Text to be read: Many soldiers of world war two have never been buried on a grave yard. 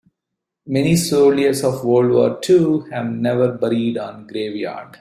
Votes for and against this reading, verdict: 1, 2, rejected